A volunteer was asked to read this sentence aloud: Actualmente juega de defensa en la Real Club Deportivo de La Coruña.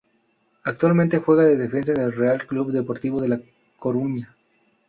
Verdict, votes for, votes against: rejected, 0, 2